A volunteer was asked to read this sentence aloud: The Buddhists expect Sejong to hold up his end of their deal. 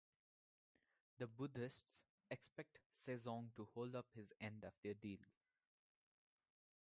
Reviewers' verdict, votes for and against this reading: rejected, 0, 2